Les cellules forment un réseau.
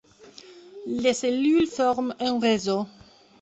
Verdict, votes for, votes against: accepted, 2, 0